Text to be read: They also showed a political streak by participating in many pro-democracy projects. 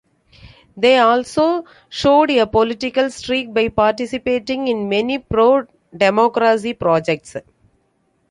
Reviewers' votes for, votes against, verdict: 1, 2, rejected